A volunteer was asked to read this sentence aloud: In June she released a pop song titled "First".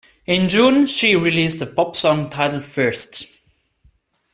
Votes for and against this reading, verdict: 3, 0, accepted